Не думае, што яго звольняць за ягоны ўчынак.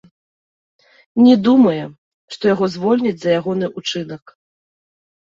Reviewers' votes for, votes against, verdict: 0, 2, rejected